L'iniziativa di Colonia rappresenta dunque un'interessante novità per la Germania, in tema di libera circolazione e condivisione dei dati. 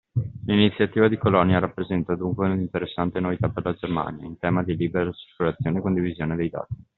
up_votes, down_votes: 0, 2